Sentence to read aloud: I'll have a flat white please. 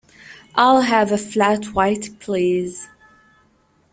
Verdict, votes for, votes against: accepted, 2, 0